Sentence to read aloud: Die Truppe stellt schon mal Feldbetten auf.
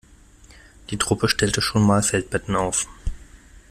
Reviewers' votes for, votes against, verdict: 1, 2, rejected